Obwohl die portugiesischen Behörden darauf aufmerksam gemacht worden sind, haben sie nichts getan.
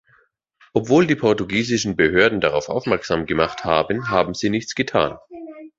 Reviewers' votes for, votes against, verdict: 0, 2, rejected